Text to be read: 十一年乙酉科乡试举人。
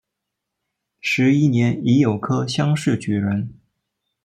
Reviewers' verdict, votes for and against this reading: accepted, 2, 0